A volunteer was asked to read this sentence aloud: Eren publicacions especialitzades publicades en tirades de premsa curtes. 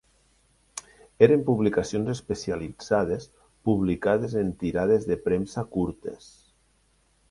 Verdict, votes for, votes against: accepted, 2, 0